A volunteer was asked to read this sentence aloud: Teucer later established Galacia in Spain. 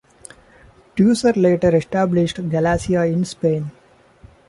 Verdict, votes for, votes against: accepted, 2, 0